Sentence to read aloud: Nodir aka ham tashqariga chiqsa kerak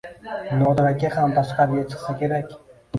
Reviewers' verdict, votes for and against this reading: rejected, 1, 2